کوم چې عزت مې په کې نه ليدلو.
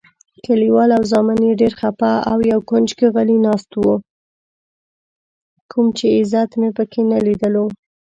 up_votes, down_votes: 1, 2